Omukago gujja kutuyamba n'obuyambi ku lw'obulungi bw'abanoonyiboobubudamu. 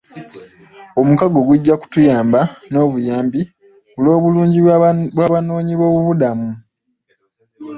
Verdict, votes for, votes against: accepted, 2, 0